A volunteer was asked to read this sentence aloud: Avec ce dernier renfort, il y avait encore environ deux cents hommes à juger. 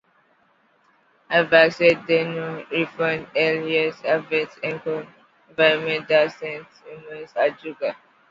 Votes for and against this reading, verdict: 0, 2, rejected